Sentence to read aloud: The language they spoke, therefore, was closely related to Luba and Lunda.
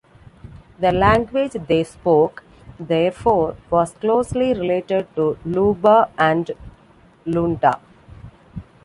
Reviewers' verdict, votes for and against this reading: accepted, 2, 0